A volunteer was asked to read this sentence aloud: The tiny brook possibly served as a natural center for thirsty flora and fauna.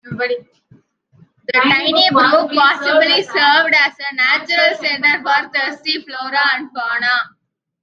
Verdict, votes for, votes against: rejected, 0, 2